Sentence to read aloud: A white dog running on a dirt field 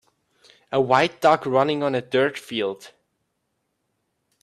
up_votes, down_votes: 2, 0